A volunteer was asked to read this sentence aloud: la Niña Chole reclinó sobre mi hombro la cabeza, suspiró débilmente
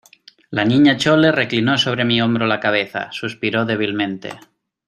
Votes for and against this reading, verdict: 2, 0, accepted